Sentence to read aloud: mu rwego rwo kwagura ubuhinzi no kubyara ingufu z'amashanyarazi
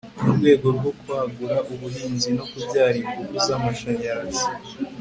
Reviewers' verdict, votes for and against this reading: accepted, 2, 0